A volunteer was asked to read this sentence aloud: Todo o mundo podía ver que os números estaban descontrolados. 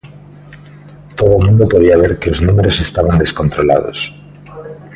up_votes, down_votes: 1, 2